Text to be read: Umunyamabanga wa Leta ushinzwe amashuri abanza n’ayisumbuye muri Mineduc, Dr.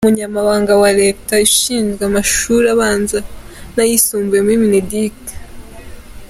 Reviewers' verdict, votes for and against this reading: rejected, 0, 2